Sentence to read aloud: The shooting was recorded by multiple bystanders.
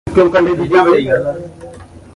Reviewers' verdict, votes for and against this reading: rejected, 0, 3